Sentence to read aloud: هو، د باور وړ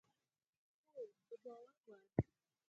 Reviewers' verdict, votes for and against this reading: rejected, 0, 4